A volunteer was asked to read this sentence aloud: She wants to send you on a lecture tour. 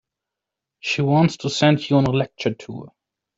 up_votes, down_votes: 2, 0